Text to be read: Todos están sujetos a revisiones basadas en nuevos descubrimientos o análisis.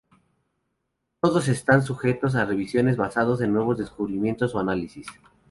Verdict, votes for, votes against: rejected, 2, 2